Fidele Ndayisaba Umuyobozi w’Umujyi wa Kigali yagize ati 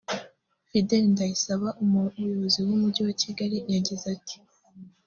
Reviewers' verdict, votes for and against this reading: accepted, 2, 0